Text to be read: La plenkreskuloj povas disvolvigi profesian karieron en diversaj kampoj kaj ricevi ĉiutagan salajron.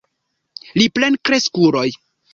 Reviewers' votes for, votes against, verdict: 0, 2, rejected